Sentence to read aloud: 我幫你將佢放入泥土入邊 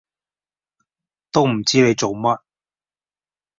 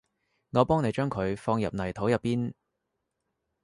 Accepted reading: second